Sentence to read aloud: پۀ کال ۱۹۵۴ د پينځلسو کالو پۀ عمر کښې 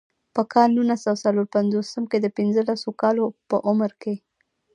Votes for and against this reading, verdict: 0, 2, rejected